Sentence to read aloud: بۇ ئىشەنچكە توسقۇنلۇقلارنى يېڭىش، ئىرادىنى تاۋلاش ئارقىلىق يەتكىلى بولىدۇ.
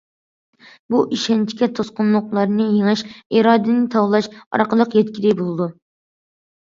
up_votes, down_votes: 2, 0